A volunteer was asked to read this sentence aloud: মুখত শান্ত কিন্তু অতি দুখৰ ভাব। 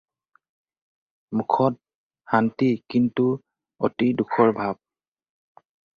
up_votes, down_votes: 0, 2